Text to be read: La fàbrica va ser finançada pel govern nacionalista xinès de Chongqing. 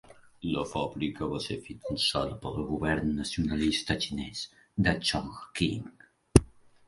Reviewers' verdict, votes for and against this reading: accepted, 3, 0